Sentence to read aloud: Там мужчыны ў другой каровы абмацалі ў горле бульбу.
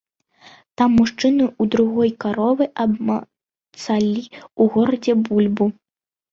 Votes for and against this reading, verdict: 0, 2, rejected